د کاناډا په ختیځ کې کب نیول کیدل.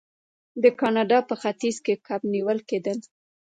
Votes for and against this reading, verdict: 2, 1, accepted